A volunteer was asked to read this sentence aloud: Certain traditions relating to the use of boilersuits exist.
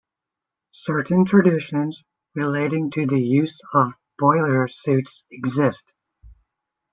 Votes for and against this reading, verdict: 1, 2, rejected